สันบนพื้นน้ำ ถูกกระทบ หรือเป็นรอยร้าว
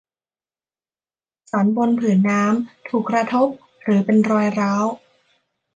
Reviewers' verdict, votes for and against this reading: rejected, 0, 2